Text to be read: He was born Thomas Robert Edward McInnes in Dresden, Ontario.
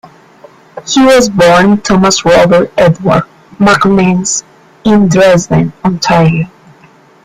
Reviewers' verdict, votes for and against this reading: accepted, 2, 0